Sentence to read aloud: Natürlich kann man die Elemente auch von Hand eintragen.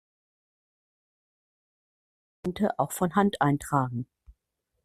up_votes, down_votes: 0, 2